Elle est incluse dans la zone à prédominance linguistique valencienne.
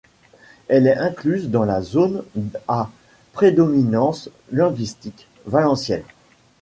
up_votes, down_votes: 1, 2